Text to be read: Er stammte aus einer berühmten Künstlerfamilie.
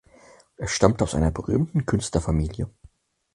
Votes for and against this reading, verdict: 6, 0, accepted